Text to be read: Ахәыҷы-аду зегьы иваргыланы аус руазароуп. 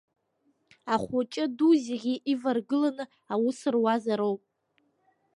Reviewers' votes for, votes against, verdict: 2, 1, accepted